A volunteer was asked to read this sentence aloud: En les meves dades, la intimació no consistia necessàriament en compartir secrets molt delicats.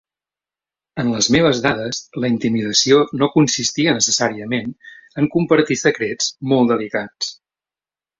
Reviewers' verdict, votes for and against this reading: rejected, 0, 2